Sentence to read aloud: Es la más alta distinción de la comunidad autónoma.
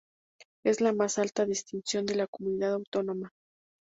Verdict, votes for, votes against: accepted, 2, 0